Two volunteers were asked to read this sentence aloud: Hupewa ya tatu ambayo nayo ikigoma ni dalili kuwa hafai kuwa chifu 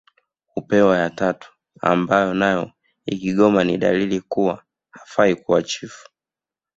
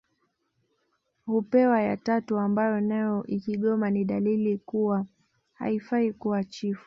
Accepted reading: first